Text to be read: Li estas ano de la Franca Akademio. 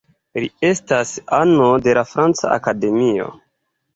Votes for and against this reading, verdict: 2, 0, accepted